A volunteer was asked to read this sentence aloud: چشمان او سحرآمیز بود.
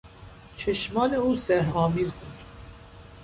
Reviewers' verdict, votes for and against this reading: accepted, 2, 0